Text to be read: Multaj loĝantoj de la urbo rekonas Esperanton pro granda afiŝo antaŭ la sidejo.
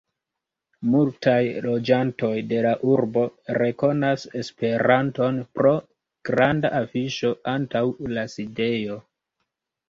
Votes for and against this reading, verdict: 2, 0, accepted